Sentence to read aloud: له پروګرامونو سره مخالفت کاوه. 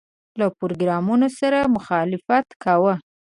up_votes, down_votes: 4, 0